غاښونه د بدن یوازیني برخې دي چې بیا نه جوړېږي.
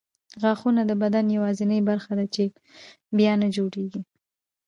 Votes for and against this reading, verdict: 1, 2, rejected